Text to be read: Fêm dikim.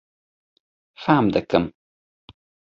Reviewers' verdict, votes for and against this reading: accepted, 2, 0